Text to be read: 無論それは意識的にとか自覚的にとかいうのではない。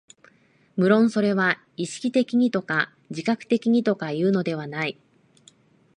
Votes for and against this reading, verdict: 2, 0, accepted